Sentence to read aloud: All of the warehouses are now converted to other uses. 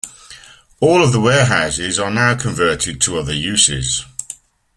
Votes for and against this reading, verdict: 2, 0, accepted